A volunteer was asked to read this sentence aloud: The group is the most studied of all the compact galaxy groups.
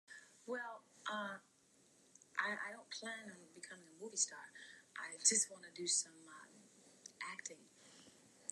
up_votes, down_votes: 0, 2